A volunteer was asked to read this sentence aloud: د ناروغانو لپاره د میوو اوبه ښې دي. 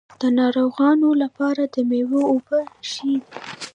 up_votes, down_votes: 1, 2